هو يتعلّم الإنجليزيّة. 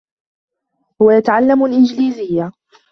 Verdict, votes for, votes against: accepted, 2, 1